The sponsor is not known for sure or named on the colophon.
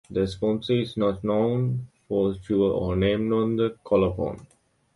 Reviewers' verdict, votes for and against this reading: accepted, 2, 0